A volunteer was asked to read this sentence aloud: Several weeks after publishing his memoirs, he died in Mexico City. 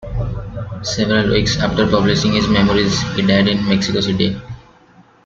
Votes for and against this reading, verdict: 1, 2, rejected